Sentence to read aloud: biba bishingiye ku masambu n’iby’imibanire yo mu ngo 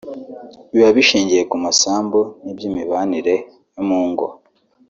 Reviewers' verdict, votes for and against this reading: accepted, 3, 0